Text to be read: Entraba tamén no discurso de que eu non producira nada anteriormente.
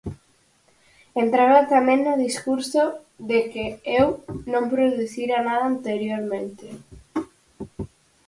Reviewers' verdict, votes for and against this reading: accepted, 4, 0